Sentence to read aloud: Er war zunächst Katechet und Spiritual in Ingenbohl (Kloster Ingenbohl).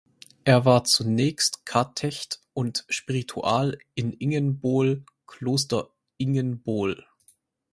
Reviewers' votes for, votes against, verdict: 4, 2, accepted